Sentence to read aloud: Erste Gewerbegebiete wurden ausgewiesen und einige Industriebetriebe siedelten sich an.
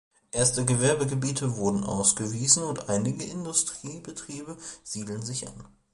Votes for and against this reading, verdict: 2, 0, accepted